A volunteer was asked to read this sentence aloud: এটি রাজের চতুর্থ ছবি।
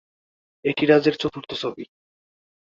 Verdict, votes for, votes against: rejected, 1, 2